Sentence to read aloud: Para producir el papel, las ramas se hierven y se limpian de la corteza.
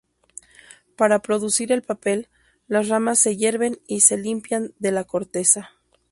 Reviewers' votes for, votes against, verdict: 2, 0, accepted